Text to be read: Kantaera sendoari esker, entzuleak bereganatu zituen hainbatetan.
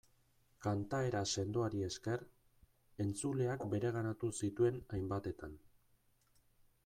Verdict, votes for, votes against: rejected, 1, 2